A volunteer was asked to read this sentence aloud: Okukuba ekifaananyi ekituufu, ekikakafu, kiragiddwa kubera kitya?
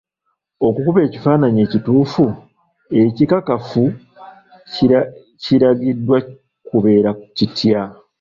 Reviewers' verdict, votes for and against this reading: rejected, 0, 2